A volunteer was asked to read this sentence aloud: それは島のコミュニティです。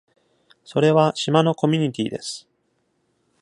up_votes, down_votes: 2, 0